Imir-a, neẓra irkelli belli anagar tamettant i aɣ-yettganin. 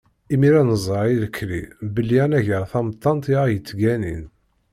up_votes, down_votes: 1, 2